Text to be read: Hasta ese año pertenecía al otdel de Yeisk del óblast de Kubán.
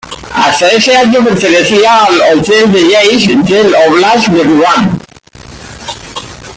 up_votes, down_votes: 0, 3